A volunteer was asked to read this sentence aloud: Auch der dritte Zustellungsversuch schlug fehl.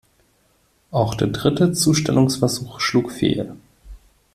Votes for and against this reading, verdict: 2, 0, accepted